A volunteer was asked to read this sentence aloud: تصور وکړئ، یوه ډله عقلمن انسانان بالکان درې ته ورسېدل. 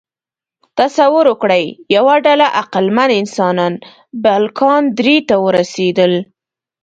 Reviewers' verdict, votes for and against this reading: accepted, 2, 0